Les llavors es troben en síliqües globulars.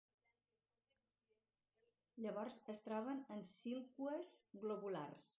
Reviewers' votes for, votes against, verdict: 0, 4, rejected